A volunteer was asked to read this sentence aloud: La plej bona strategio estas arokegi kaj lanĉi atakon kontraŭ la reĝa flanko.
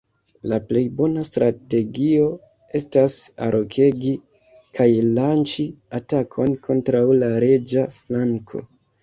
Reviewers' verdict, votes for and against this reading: rejected, 1, 2